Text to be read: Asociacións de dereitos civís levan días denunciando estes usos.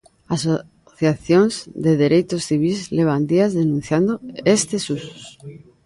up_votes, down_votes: 0, 2